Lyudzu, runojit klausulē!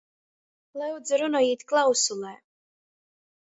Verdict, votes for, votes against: accepted, 2, 1